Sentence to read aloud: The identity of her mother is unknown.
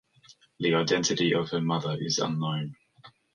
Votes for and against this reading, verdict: 2, 0, accepted